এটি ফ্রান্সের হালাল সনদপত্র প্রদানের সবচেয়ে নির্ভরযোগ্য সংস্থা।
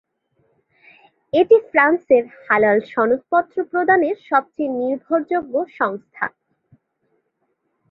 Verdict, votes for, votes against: accepted, 8, 0